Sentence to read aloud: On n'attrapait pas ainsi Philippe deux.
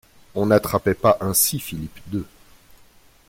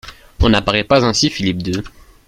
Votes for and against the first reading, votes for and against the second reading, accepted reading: 2, 0, 0, 2, first